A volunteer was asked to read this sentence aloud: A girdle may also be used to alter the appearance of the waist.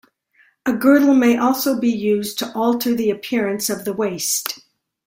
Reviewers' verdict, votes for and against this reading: accepted, 2, 0